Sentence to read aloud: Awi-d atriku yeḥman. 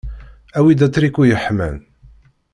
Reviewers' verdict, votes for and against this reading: accepted, 2, 0